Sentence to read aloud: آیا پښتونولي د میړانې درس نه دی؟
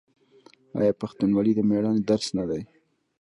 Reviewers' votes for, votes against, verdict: 1, 2, rejected